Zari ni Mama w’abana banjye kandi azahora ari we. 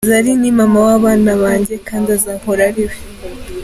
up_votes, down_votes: 2, 0